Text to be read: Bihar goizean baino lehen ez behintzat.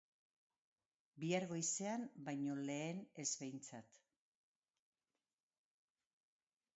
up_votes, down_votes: 2, 0